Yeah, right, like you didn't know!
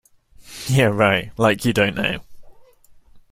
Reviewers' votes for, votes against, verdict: 0, 2, rejected